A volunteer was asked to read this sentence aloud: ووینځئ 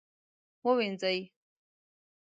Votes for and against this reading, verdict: 2, 0, accepted